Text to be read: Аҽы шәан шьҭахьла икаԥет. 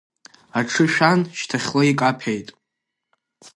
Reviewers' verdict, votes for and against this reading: accepted, 2, 0